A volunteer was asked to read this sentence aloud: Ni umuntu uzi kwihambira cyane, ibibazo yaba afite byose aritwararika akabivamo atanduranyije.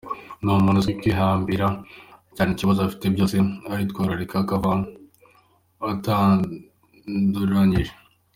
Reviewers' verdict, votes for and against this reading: rejected, 1, 2